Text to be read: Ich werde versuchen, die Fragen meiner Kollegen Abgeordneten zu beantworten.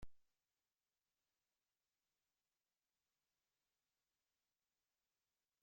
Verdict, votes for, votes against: rejected, 0, 2